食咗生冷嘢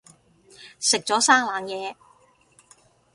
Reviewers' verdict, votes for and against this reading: accepted, 2, 0